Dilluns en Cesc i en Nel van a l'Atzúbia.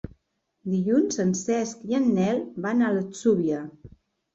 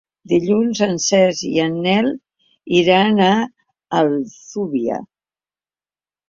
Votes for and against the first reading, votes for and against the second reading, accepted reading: 2, 0, 0, 2, first